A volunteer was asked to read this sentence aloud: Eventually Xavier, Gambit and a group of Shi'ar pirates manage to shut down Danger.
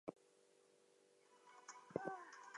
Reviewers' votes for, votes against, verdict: 0, 2, rejected